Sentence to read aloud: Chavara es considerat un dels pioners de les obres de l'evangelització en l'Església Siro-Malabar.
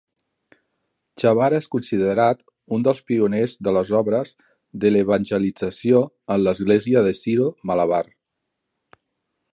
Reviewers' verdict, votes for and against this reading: rejected, 0, 2